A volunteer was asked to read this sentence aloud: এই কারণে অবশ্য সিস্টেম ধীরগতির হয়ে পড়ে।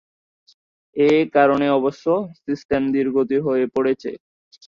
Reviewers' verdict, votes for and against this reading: rejected, 0, 2